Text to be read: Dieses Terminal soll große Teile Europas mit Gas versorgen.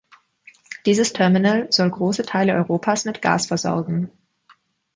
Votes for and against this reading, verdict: 2, 0, accepted